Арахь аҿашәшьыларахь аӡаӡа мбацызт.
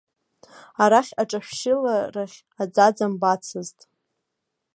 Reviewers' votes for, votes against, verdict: 1, 2, rejected